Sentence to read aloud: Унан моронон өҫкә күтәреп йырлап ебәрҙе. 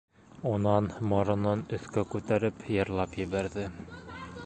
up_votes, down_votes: 2, 4